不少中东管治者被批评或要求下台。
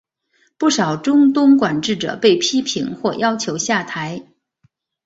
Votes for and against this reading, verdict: 2, 0, accepted